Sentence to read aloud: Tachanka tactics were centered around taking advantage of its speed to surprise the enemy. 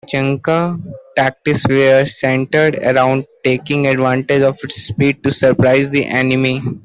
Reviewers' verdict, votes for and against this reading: rejected, 0, 2